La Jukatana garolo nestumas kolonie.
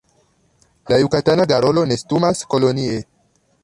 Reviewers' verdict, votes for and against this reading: accepted, 2, 0